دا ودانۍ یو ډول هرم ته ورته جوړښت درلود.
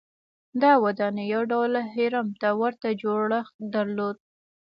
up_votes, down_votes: 2, 0